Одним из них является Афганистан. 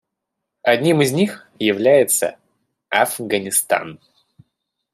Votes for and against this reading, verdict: 2, 0, accepted